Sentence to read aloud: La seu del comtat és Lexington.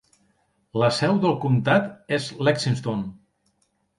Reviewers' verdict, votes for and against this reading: rejected, 0, 2